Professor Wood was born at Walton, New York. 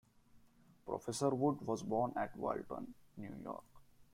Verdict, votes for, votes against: accepted, 2, 1